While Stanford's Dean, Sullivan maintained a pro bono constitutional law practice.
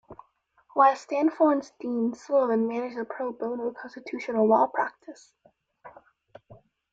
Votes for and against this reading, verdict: 2, 0, accepted